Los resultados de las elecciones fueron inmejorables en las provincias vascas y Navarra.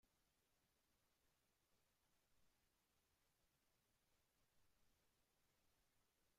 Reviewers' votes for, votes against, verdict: 0, 2, rejected